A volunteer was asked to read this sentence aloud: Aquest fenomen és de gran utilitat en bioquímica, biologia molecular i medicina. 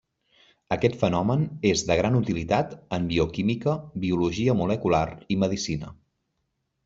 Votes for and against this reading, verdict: 3, 0, accepted